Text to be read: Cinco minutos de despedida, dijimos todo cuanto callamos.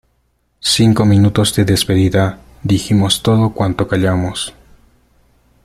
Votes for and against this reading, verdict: 2, 0, accepted